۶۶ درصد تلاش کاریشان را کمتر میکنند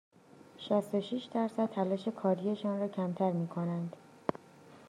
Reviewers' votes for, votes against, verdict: 0, 2, rejected